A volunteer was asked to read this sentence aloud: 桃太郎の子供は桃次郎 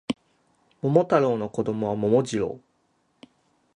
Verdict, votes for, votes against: rejected, 0, 6